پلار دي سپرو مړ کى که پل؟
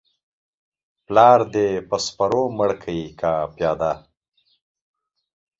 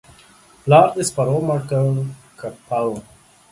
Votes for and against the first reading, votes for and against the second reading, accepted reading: 2, 0, 1, 2, first